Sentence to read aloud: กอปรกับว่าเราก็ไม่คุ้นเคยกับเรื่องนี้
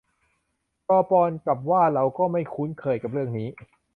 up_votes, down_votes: 0, 2